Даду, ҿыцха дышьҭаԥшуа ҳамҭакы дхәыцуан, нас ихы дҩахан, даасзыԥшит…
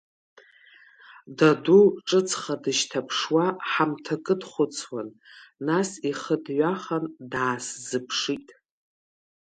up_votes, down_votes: 2, 0